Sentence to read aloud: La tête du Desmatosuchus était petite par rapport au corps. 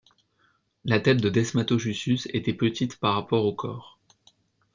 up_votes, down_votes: 0, 2